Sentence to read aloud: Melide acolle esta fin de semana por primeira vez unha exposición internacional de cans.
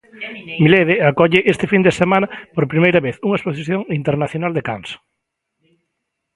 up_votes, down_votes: 0, 2